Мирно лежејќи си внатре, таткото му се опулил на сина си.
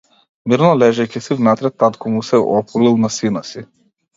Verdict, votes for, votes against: rejected, 0, 2